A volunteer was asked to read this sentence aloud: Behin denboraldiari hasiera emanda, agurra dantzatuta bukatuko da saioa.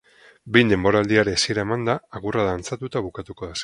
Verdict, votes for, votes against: rejected, 0, 4